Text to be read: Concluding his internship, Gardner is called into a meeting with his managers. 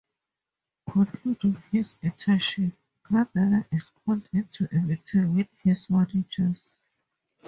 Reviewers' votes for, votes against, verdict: 2, 0, accepted